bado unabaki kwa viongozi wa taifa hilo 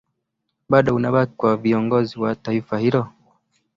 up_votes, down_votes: 2, 0